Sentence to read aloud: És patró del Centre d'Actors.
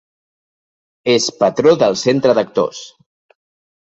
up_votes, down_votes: 2, 0